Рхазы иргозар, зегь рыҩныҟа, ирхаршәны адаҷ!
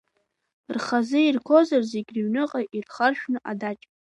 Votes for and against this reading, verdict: 2, 0, accepted